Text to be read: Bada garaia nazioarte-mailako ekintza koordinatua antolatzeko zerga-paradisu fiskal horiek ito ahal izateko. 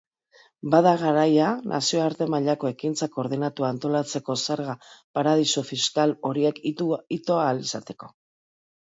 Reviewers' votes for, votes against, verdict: 1, 2, rejected